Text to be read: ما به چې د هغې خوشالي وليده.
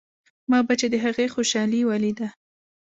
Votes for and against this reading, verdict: 2, 0, accepted